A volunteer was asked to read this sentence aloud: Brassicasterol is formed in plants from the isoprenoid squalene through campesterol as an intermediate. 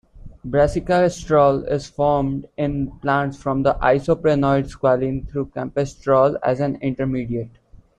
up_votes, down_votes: 0, 2